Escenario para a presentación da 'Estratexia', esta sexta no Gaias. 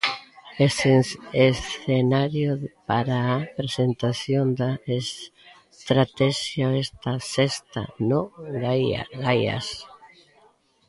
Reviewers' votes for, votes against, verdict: 0, 2, rejected